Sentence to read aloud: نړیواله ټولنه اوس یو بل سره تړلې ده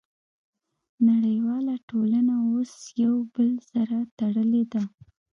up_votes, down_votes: 1, 2